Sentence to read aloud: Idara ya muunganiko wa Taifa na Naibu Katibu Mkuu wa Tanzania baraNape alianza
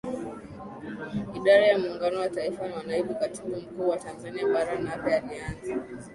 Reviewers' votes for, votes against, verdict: 6, 4, accepted